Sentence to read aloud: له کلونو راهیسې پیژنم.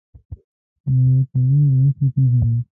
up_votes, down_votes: 1, 2